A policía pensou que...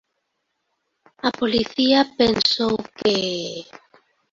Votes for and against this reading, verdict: 1, 2, rejected